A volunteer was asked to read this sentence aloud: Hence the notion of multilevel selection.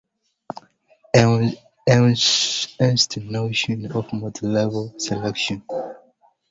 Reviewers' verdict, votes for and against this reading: rejected, 1, 3